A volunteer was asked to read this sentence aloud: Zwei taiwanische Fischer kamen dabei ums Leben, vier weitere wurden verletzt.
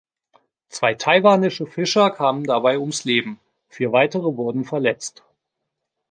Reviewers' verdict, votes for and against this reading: rejected, 1, 2